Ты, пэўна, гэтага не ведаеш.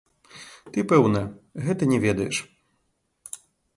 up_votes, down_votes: 0, 2